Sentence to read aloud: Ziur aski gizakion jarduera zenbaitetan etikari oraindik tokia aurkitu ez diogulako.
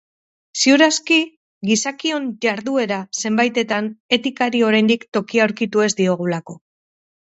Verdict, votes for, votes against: accepted, 4, 0